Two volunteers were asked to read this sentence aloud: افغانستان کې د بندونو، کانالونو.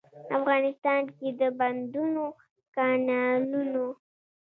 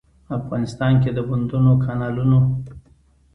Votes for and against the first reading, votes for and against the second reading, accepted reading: 0, 2, 2, 0, second